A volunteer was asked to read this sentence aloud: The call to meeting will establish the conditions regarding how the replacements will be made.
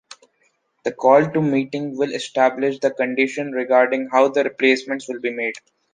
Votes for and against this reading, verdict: 0, 2, rejected